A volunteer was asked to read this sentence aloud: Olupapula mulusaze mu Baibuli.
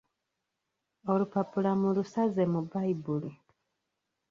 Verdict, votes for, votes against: rejected, 1, 2